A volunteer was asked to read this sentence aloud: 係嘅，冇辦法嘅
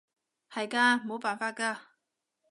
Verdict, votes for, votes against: rejected, 1, 2